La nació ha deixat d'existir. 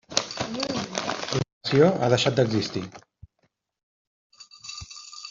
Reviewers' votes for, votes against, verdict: 0, 2, rejected